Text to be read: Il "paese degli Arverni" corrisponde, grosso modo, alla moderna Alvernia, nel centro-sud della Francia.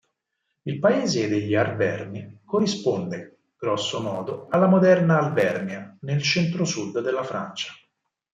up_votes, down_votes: 4, 0